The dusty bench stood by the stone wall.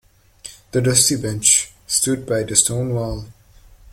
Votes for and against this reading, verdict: 2, 0, accepted